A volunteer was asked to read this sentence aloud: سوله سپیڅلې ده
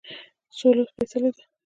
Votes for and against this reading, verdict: 0, 2, rejected